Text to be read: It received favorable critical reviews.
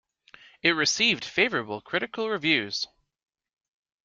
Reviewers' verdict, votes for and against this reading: accepted, 2, 0